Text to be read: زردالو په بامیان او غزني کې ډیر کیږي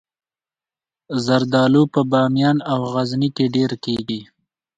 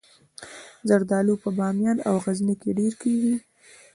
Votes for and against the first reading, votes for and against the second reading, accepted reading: 2, 0, 1, 2, first